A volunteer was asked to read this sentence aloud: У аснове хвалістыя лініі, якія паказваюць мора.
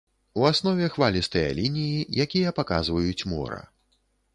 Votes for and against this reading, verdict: 2, 0, accepted